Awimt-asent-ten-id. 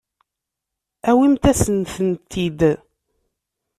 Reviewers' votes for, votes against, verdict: 1, 2, rejected